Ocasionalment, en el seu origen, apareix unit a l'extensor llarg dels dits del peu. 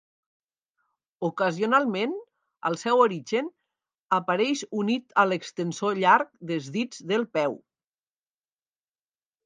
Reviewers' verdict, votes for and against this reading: rejected, 0, 2